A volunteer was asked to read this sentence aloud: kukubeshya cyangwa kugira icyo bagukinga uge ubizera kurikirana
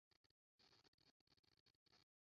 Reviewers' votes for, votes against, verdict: 0, 2, rejected